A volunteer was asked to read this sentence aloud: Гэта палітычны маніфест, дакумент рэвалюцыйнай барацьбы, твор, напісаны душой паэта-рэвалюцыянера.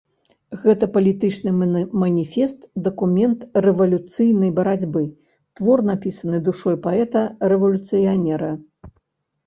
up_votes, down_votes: 0, 2